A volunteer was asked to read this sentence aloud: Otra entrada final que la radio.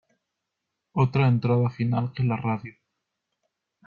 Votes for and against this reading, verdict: 1, 2, rejected